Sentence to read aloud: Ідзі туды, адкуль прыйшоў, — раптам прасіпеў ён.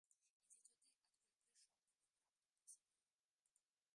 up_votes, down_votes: 0, 3